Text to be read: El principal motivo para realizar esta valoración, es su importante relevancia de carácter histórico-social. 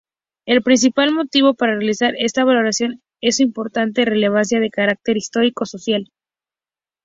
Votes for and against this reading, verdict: 2, 0, accepted